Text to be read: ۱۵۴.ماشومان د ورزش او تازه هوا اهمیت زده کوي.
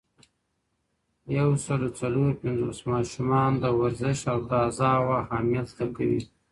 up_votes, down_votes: 0, 2